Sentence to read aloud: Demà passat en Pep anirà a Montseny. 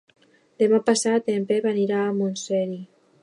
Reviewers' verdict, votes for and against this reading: rejected, 0, 2